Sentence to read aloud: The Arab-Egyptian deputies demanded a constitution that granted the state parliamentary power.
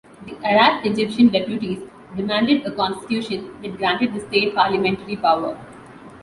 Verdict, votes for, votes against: accepted, 2, 1